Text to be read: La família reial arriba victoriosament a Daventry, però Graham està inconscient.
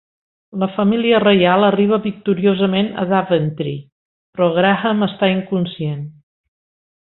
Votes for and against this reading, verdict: 3, 1, accepted